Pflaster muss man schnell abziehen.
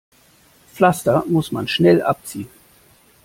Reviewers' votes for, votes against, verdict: 2, 0, accepted